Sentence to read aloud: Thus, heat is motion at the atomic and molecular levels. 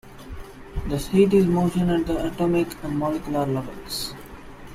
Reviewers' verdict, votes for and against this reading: accepted, 2, 0